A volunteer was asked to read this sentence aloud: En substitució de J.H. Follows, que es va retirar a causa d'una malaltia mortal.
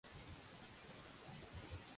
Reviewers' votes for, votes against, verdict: 0, 2, rejected